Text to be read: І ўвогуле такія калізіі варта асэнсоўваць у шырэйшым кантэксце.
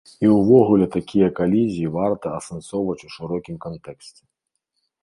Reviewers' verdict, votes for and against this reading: rejected, 0, 2